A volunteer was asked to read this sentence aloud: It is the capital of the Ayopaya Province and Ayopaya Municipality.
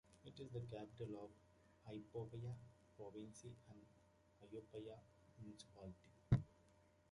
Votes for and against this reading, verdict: 1, 2, rejected